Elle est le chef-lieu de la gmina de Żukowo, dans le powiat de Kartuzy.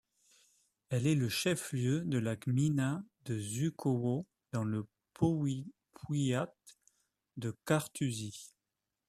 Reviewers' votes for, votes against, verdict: 0, 2, rejected